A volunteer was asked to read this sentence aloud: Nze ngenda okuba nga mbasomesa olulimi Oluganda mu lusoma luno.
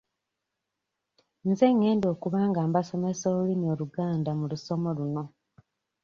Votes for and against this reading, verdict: 1, 2, rejected